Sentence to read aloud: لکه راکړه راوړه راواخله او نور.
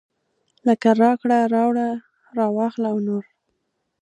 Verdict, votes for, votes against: accepted, 2, 0